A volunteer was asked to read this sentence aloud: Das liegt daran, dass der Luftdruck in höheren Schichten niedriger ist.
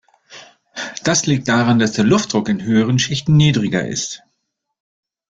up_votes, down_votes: 0, 2